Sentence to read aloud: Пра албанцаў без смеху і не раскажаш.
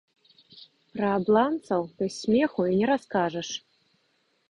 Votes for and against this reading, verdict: 0, 2, rejected